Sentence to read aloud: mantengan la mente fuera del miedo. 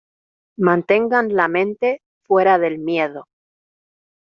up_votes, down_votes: 2, 0